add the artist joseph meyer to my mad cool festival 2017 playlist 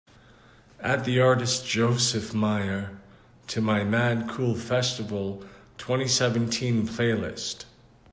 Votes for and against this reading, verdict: 0, 2, rejected